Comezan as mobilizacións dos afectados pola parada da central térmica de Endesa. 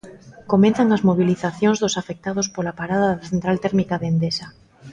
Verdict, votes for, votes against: rejected, 1, 2